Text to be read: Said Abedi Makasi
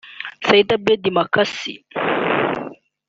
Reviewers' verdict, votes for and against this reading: rejected, 1, 2